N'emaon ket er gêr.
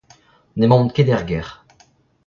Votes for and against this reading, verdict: 1, 2, rejected